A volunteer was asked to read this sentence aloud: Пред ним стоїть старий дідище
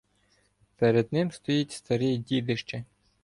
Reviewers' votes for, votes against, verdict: 1, 2, rejected